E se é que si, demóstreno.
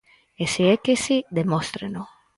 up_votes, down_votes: 4, 0